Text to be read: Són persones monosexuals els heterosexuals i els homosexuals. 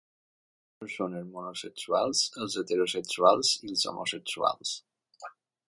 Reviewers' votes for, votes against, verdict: 0, 2, rejected